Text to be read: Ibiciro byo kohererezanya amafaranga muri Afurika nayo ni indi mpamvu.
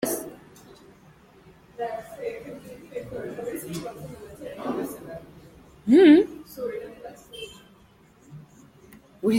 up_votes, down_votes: 0, 3